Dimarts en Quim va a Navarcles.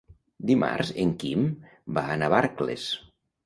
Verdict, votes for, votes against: accepted, 2, 0